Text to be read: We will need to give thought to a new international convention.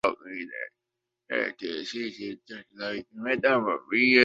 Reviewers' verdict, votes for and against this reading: rejected, 0, 2